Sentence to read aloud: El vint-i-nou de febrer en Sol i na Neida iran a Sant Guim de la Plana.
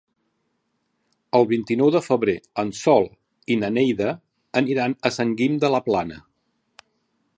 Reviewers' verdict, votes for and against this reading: rejected, 0, 2